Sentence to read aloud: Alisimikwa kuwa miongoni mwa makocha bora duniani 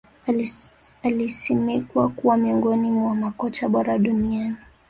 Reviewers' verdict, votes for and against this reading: rejected, 1, 2